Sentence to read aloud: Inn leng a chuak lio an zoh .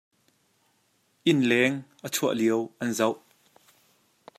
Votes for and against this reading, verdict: 2, 1, accepted